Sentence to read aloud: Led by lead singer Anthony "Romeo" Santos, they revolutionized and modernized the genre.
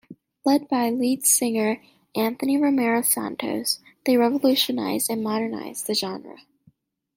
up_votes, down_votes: 1, 2